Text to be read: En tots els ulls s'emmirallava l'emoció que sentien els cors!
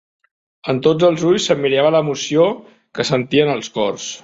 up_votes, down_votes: 1, 2